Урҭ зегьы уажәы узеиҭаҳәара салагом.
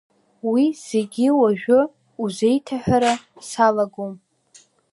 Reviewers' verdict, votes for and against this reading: rejected, 1, 2